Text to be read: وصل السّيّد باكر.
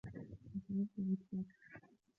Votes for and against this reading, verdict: 1, 3, rejected